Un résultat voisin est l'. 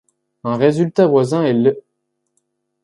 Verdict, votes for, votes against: accepted, 2, 0